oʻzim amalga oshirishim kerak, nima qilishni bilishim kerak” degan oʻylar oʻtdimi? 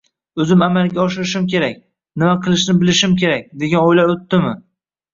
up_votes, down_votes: 0, 2